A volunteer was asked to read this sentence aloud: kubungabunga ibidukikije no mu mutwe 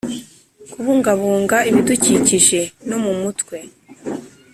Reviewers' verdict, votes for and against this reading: accepted, 2, 0